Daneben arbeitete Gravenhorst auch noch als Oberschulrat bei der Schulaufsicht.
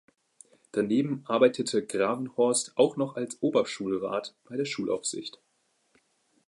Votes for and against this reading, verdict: 2, 0, accepted